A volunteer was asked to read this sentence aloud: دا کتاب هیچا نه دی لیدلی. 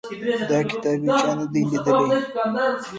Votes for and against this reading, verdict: 1, 2, rejected